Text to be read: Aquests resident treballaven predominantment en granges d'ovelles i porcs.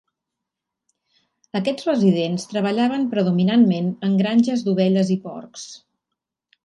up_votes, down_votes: 3, 4